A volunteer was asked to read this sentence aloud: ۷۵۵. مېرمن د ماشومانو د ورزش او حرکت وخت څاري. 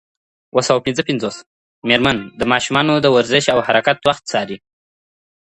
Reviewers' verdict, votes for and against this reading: rejected, 0, 2